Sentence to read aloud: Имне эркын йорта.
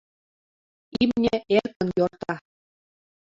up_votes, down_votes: 0, 2